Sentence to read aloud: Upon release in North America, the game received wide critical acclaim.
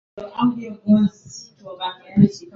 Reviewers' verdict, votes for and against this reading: rejected, 0, 2